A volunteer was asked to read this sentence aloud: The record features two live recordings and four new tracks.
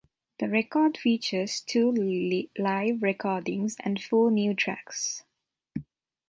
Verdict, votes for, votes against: rejected, 1, 2